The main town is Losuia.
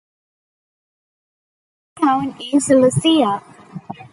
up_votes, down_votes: 0, 2